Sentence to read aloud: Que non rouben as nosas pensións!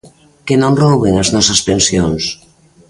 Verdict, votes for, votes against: accepted, 2, 0